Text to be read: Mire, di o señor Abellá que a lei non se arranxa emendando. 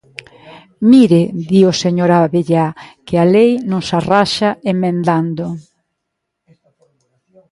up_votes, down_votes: 0, 2